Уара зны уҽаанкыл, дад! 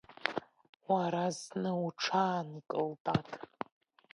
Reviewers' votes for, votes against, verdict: 3, 0, accepted